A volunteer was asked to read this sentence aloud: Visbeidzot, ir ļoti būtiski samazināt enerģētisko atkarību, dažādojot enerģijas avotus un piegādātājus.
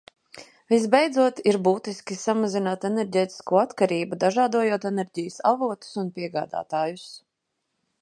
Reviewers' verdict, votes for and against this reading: rejected, 0, 2